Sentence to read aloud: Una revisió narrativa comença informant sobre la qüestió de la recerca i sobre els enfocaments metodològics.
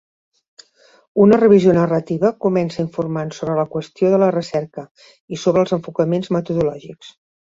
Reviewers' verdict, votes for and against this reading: accepted, 2, 0